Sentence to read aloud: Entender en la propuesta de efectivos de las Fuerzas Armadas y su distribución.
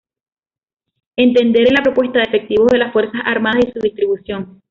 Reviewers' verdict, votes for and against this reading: accepted, 2, 0